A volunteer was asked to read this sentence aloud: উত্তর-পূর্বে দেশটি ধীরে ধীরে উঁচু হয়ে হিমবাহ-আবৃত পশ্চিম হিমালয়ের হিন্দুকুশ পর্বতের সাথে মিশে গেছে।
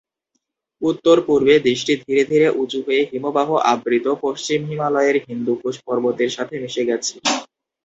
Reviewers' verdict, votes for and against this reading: rejected, 0, 2